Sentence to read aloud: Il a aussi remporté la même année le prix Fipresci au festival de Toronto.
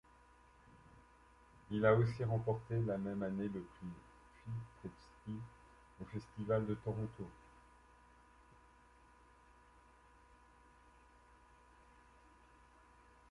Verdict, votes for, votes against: rejected, 1, 2